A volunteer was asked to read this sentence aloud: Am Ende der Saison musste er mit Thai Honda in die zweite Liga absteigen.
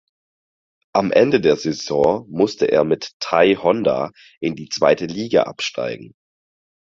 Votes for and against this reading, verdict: 4, 0, accepted